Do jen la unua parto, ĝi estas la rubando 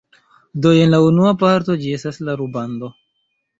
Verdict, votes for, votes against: accepted, 2, 1